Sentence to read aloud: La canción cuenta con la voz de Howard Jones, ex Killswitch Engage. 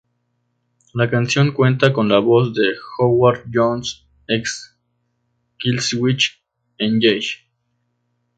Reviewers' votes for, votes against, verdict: 4, 0, accepted